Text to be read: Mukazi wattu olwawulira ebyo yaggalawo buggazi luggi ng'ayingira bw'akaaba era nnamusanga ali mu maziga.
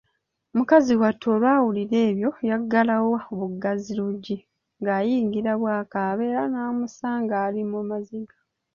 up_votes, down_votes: 2, 0